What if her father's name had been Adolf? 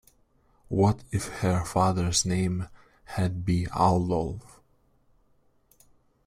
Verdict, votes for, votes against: accepted, 2, 1